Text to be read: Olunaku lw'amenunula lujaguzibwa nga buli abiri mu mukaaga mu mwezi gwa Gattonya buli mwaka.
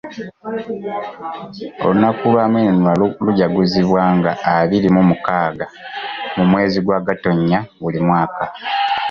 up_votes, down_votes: 0, 2